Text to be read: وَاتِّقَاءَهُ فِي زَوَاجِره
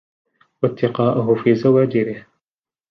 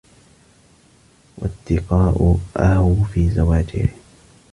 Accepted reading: first